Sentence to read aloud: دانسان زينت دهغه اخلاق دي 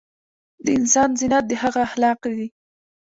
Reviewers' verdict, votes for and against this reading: accepted, 2, 0